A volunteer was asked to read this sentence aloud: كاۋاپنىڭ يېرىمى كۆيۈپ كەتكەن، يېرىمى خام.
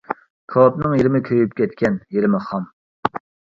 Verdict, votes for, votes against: rejected, 1, 2